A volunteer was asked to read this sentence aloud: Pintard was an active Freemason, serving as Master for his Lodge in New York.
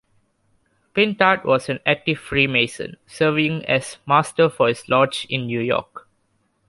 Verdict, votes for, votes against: accepted, 2, 0